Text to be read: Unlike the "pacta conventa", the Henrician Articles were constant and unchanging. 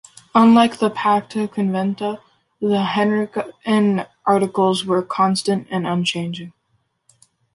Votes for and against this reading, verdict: 2, 0, accepted